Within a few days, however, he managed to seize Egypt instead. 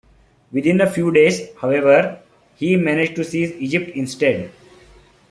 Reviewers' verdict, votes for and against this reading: accepted, 2, 1